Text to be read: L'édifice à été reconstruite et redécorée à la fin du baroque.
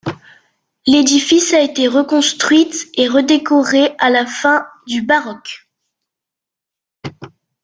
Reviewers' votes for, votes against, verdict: 2, 1, accepted